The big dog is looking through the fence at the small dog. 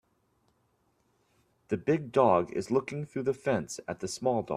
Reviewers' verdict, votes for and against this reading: rejected, 1, 2